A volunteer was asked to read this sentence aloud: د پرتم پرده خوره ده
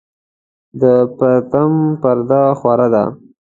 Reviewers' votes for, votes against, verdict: 2, 0, accepted